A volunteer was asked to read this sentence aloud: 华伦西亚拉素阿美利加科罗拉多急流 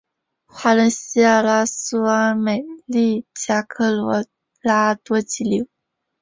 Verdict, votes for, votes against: rejected, 0, 2